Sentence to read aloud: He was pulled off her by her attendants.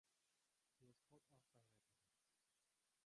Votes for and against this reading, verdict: 0, 3, rejected